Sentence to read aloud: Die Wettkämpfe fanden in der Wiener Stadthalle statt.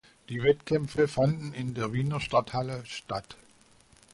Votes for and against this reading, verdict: 2, 0, accepted